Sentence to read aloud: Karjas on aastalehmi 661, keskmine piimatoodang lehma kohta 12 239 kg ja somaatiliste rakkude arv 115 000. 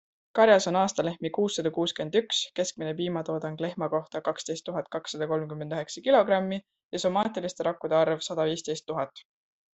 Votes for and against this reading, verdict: 0, 2, rejected